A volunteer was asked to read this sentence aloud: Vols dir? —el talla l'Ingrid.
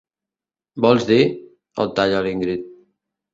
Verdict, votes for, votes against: accepted, 2, 0